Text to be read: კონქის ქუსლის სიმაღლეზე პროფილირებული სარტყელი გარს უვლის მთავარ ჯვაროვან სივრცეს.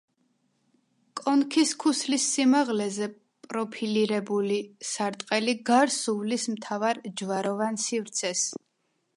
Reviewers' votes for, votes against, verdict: 2, 0, accepted